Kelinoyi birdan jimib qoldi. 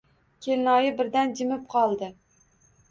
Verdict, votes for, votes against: accepted, 2, 0